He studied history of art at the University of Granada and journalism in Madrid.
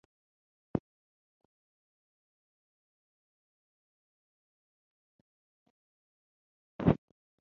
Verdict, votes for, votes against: rejected, 0, 4